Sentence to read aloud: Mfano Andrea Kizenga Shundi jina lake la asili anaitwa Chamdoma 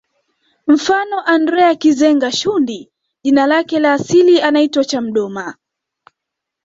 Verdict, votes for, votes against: accepted, 2, 0